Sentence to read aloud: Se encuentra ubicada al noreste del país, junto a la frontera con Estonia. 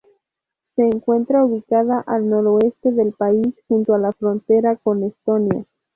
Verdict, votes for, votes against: rejected, 0, 2